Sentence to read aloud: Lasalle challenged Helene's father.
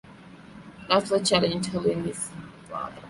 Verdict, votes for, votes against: accepted, 2, 0